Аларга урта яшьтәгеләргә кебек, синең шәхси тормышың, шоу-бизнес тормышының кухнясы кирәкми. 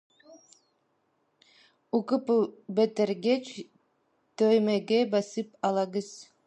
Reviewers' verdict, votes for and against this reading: rejected, 0, 2